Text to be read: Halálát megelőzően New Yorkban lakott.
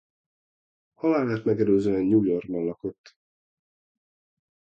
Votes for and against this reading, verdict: 2, 1, accepted